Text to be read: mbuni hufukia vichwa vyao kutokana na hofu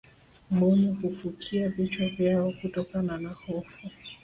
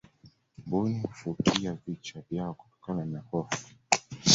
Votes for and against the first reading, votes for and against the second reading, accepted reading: 2, 1, 0, 2, first